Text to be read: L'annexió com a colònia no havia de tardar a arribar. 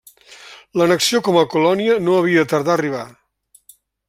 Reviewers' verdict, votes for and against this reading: rejected, 1, 2